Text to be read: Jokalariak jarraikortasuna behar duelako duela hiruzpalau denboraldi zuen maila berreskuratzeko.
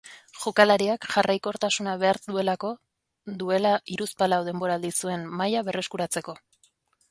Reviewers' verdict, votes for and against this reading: accepted, 2, 0